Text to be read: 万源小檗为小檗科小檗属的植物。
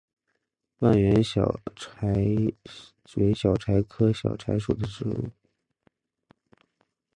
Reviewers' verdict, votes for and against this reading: rejected, 0, 3